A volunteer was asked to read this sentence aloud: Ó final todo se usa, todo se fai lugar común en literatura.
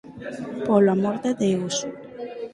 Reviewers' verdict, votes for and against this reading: rejected, 0, 4